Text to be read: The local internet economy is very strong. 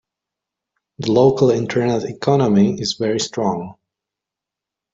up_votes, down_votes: 3, 0